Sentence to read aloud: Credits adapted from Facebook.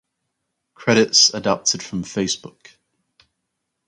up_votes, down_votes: 4, 0